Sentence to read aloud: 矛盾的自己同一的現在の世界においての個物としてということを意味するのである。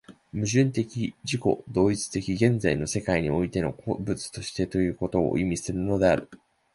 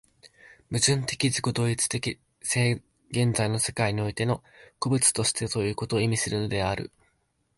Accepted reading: first